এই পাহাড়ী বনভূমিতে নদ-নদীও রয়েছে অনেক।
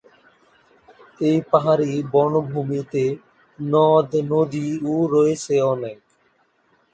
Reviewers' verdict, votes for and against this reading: accepted, 7, 4